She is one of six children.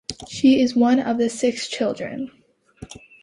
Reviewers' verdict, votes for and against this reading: rejected, 0, 2